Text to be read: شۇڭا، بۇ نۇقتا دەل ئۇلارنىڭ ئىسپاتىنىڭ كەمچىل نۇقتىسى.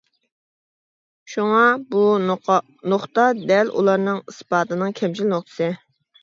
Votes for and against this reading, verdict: 1, 2, rejected